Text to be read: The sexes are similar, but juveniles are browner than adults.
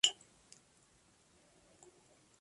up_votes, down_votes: 0, 3